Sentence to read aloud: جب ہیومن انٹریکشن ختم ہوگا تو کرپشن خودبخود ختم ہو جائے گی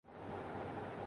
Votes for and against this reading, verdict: 1, 3, rejected